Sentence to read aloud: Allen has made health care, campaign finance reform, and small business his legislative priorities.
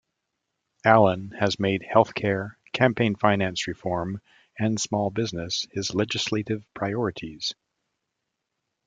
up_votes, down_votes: 2, 0